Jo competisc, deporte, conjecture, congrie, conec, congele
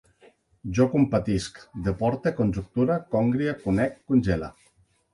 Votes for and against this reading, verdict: 0, 2, rejected